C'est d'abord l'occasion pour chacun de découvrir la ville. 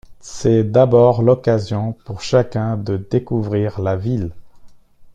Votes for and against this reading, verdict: 2, 0, accepted